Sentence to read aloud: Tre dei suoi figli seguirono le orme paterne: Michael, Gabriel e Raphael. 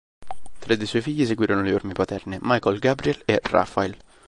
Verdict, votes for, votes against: accepted, 3, 1